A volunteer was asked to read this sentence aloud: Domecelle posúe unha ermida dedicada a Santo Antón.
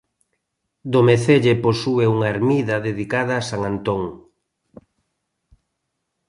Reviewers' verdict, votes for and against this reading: rejected, 0, 2